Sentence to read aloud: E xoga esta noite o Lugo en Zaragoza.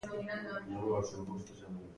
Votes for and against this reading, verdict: 0, 2, rejected